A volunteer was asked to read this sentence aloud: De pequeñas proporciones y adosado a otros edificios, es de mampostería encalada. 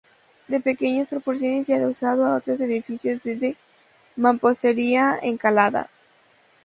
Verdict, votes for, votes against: rejected, 0, 2